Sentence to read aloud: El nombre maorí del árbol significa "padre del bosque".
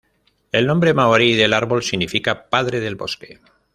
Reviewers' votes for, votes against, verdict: 2, 0, accepted